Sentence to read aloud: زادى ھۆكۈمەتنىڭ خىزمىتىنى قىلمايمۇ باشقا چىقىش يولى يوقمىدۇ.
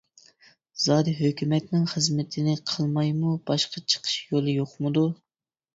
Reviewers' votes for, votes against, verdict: 2, 0, accepted